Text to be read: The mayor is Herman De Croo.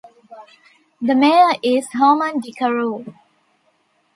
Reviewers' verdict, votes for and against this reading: accepted, 2, 0